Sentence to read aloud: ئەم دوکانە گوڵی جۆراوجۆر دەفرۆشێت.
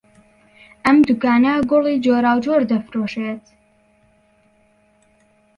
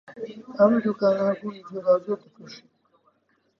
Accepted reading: first